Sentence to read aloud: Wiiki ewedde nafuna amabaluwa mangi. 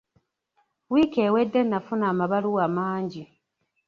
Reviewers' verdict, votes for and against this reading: accepted, 2, 0